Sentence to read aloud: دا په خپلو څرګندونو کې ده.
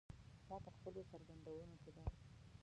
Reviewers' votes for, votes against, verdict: 1, 2, rejected